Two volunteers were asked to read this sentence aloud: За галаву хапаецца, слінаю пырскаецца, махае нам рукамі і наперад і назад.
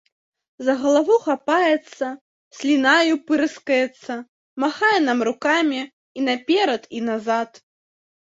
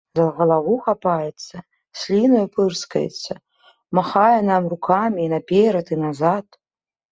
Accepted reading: second